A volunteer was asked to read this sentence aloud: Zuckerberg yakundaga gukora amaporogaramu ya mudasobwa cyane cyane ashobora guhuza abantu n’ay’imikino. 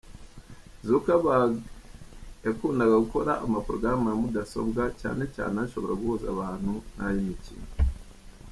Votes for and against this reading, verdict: 0, 2, rejected